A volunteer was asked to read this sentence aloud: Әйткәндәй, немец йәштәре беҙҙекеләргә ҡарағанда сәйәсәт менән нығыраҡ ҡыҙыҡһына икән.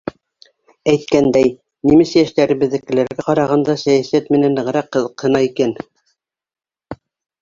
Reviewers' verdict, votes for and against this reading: accepted, 2, 0